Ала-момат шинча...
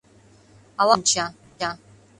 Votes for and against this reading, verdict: 0, 2, rejected